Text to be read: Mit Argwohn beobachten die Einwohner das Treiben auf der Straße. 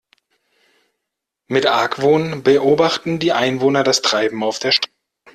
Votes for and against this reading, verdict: 0, 2, rejected